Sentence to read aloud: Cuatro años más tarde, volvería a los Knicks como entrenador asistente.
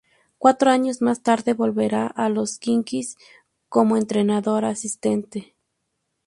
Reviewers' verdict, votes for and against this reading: accepted, 2, 0